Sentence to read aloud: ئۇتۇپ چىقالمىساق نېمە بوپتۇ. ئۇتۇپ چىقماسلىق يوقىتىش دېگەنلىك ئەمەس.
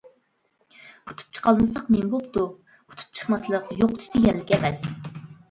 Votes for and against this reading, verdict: 2, 1, accepted